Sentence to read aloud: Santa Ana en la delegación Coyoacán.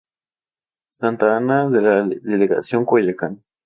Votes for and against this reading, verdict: 0, 2, rejected